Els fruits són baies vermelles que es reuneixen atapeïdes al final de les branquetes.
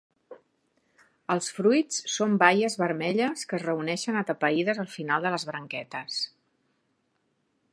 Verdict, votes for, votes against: accepted, 3, 0